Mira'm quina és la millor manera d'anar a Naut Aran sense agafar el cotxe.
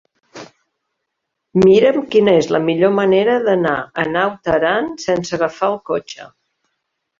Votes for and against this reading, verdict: 3, 0, accepted